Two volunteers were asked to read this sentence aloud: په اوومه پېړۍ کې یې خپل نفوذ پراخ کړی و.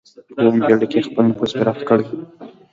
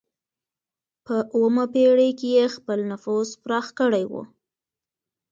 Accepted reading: second